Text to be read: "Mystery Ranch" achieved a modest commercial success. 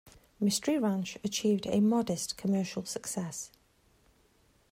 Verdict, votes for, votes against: accepted, 2, 0